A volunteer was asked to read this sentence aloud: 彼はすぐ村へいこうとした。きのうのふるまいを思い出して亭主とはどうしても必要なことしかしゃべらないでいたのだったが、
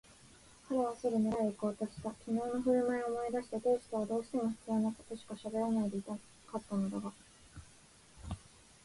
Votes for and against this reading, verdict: 2, 4, rejected